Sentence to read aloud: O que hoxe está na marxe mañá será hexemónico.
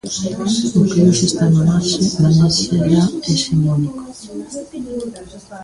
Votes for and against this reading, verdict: 1, 2, rejected